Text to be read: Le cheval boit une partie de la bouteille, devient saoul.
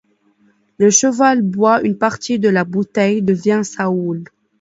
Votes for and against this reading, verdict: 0, 2, rejected